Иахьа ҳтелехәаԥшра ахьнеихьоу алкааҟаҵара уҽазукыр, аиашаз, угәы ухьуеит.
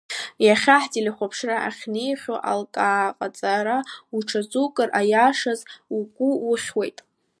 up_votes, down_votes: 2, 0